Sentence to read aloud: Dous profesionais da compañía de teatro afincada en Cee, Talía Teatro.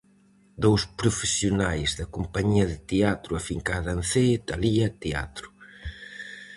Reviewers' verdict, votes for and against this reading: accepted, 4, 0